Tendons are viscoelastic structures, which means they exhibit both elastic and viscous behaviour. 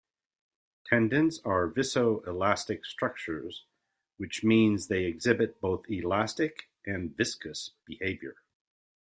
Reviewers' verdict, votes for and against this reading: accepted, 3, 0